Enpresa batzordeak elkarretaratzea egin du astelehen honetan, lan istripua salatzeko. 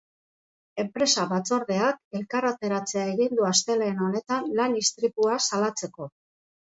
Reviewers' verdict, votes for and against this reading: rejected, 1, 2